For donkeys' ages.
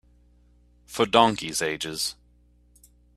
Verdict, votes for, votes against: accepted, 2, 0